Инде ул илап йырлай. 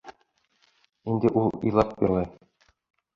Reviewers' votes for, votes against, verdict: 1, 2, rejected